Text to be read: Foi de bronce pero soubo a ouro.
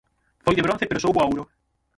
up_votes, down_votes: 0, 6